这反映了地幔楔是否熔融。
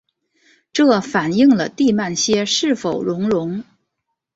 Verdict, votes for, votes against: accepted, 2, 1